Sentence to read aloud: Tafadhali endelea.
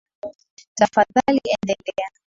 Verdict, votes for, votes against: rejected, 0, 2